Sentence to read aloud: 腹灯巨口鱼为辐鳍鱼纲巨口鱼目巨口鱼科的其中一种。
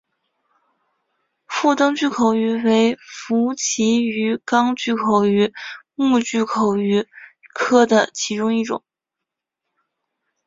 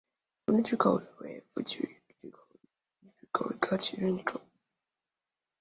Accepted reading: first